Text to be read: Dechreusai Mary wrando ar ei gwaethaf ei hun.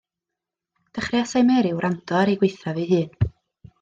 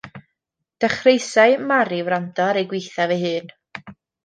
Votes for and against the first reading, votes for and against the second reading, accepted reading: 2, 0, 0, 2, first